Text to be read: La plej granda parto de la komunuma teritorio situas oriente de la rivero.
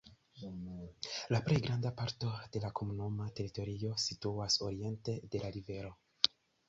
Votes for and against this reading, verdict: 2, 0, accepted